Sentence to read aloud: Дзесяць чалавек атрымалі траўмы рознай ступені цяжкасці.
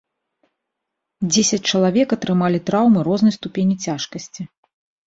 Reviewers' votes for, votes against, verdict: 2, 0, accepted